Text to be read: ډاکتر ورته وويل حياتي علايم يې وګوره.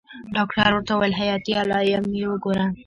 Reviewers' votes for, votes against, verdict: 2, 1, accepted